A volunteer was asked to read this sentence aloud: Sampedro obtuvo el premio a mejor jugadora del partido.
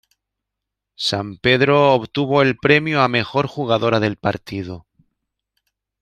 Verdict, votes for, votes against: accepted, 2, 0